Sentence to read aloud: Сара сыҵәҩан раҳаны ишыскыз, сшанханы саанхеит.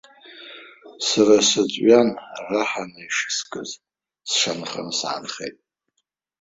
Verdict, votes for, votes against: rejected, 1, 2